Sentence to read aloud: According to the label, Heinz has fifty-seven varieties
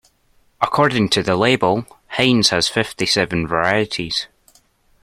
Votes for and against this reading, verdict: 2, 0, accepted